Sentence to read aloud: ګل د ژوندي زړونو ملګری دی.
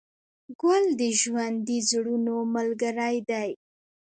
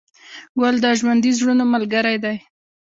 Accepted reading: second